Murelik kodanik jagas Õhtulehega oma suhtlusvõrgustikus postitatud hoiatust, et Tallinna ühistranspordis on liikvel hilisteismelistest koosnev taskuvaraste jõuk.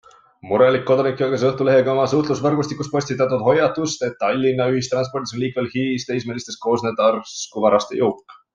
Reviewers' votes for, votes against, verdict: 1, 2, rejected